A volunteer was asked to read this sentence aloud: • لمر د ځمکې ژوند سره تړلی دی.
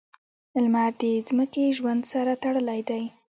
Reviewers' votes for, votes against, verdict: 1, 2, rejected